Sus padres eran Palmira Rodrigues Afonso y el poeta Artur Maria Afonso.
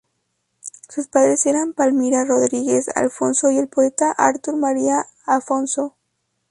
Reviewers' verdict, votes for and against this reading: accepted, 2, 0